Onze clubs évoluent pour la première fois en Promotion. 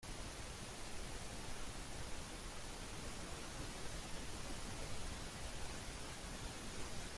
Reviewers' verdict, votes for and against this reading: rejected, 0, 2